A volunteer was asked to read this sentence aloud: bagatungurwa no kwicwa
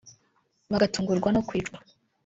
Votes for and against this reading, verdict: 0, 2, rejected